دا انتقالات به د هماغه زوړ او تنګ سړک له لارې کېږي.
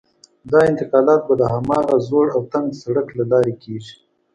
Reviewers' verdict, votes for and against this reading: accepted, 2, 0